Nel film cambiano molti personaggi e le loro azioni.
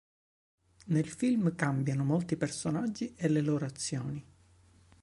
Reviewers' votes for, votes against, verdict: 3, 0, accepted